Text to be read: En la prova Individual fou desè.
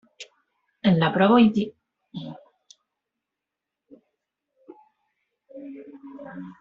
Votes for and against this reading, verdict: 0, 2, rejected